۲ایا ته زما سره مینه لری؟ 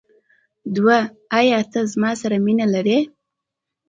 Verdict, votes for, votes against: rejected, 0, 2